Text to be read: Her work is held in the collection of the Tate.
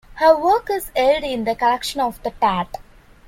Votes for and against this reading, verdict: 0, 3, rejected